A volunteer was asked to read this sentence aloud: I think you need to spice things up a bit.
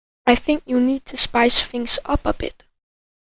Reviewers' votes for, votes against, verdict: 7, 3, accepted